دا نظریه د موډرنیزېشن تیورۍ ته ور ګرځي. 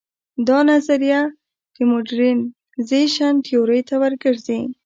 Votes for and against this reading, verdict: 1, 2, rejected